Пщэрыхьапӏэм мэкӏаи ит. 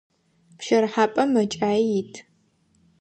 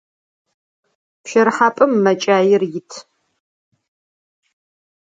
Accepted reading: first